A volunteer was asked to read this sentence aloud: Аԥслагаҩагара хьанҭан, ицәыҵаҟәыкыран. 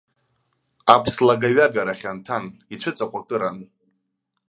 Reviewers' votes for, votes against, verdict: 2, 0, accepted